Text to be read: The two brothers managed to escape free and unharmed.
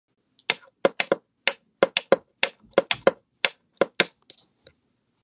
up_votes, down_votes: 0, 2